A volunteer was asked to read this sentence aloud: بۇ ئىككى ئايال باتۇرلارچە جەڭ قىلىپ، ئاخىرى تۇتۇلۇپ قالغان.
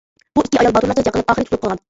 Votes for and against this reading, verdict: 0, 2, rejected